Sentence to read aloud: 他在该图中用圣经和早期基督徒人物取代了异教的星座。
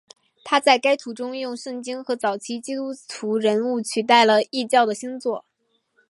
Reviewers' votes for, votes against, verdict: 1, 2, rejected